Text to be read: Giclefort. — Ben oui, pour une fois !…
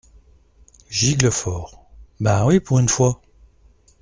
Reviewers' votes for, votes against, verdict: 2, 0, accepted